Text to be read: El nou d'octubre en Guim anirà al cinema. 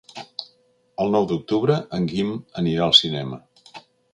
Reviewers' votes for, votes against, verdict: 2, 0, accepted